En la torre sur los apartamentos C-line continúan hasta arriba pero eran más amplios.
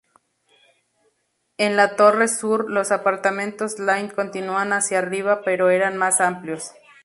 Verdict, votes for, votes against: accepted, 2, 0